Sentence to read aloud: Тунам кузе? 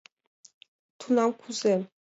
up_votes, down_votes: 2, 0